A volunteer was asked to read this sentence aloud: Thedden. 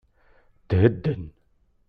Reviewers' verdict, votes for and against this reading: accepted, 2, 0